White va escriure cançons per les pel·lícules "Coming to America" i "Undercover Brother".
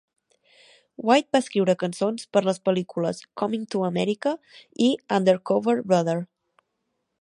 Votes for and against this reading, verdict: 3, 0, accepted